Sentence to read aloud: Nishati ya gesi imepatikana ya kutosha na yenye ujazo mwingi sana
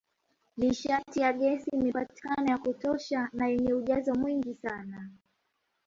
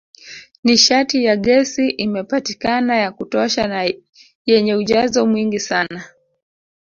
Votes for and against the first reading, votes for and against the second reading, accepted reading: 1, 2, 6, 0, second